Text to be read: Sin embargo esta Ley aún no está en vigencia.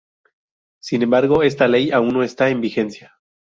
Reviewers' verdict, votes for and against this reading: accepted, 4, 0